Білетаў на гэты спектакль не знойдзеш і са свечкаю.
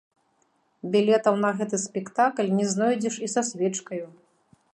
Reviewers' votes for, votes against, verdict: 2, 1, accepted